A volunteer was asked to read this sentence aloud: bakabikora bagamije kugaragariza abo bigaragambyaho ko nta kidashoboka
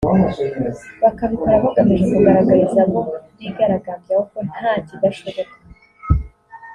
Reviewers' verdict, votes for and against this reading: accepted, 2, 0